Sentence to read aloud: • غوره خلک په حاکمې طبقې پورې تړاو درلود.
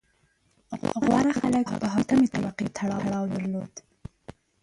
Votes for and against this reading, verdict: 1, 2, rejected